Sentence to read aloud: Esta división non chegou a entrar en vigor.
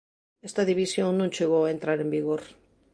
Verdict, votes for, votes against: accepted, 2, 0